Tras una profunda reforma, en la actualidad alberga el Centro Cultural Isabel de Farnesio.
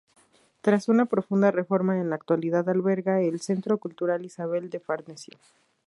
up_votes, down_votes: 4, 0